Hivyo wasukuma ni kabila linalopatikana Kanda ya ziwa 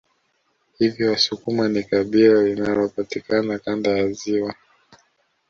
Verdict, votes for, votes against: accepted, 2, 0